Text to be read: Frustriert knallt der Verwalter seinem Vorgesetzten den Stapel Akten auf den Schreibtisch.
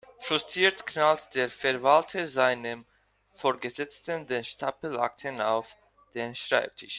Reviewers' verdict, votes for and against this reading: accepted, 2, 0